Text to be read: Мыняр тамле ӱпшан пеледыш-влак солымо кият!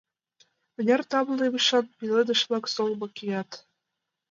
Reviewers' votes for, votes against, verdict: 0, 2, rejected